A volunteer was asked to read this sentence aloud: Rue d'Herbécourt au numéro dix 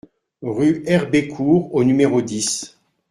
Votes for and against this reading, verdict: 0, 2, rejected